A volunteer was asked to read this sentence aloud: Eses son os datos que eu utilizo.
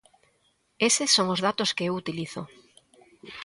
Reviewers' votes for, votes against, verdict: 2, 1, accepted